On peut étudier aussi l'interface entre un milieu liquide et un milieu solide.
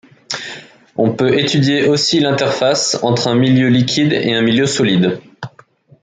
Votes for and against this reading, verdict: 2, 0, accepted